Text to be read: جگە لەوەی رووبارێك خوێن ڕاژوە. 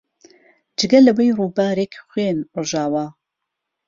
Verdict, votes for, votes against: rejected, 1, 2